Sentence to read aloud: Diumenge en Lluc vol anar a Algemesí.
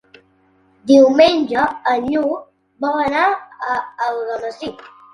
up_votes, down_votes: 0, 2